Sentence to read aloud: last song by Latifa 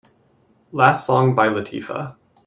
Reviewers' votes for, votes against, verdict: 2, 0, accepted